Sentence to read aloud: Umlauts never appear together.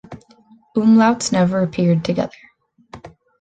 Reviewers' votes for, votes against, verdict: 2, 0, accepted